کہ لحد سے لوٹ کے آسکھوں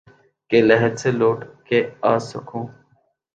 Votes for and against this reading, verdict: 2, 0, accepted